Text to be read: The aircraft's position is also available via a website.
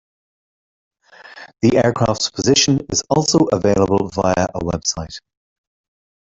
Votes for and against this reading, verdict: 2, 0, accepted